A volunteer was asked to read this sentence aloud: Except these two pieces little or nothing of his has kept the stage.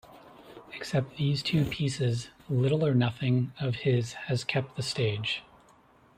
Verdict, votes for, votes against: accepted, 2, 0